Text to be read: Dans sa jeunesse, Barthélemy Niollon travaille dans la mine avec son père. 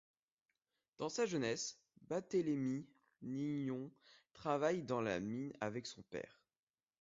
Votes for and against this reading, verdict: 2, 0, accepted